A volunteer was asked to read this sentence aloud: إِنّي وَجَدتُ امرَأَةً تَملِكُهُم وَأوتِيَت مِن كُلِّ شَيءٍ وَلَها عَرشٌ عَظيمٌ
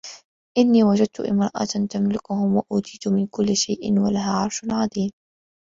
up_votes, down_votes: 1, 2